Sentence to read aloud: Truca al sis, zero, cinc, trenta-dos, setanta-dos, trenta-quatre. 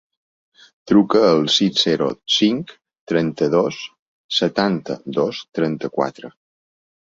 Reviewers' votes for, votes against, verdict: 2, 1, accepted